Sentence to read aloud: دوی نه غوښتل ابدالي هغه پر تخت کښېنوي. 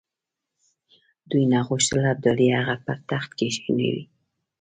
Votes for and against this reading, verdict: 2, 0, accepted